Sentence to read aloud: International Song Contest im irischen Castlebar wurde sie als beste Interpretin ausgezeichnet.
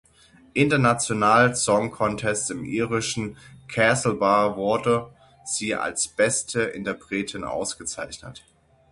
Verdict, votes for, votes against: rejected, 0, 6